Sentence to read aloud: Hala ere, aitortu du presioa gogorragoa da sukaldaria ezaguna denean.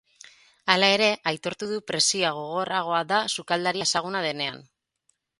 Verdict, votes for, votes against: rejected, 2, 2